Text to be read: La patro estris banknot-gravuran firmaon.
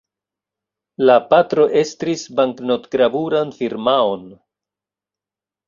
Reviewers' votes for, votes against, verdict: 2, 0, accepted